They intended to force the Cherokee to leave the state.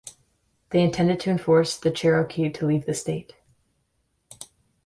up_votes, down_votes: 0, 2